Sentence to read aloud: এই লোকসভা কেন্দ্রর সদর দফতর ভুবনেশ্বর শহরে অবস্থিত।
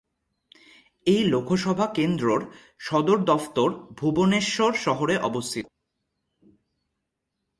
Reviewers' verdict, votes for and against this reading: accepted, 2, 0